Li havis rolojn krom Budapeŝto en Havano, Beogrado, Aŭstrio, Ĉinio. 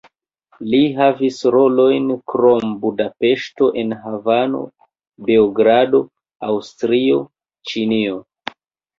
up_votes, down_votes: 2, 0